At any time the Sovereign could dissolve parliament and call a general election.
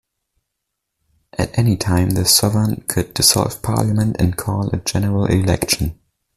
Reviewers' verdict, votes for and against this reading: accepted, 2, 0